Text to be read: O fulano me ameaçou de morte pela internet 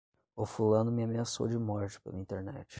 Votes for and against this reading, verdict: 5, 5, rejected